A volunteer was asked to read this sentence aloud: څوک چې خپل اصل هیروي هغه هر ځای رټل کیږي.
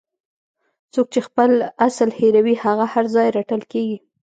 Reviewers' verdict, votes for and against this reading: accepted, 2, 0